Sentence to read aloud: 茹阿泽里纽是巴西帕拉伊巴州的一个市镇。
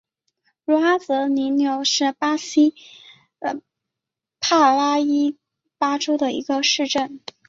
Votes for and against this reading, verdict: 2, 1, accepted